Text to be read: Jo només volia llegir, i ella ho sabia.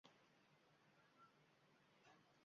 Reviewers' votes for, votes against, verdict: 0, 2, rejected